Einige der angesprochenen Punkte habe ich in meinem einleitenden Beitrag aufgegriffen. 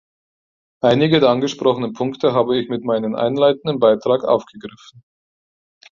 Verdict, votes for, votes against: rejected, 2, 4